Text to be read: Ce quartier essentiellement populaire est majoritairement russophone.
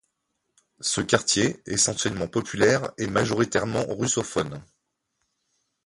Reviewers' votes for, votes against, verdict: 1, 2, rejected